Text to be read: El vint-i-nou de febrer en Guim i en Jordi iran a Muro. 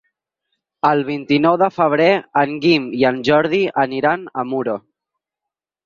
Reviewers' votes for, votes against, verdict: 0, 4, rejected